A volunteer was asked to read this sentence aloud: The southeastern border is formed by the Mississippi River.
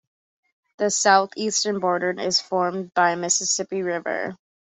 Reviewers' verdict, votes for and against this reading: rejected, 0, 2